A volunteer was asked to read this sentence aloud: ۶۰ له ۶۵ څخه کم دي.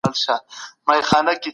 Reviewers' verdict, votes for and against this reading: rejected, 0, 2